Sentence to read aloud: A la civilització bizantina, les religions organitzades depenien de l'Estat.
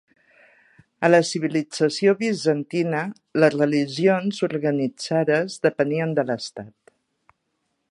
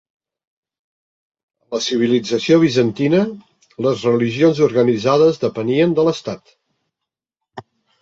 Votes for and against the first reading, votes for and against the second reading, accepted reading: 4, 0, 1, 2, first